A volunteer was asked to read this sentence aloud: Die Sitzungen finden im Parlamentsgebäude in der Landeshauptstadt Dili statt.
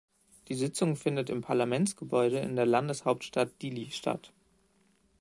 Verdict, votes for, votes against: rejected, 1, 2